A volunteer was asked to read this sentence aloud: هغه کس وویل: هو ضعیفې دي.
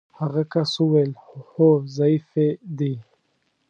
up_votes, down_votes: 1, 2